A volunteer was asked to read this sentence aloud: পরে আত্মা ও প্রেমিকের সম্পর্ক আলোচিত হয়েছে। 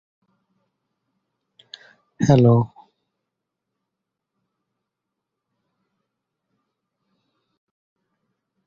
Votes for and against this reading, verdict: 0, 2, rejected